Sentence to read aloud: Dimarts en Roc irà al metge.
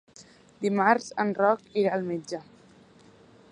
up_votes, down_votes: 3, 0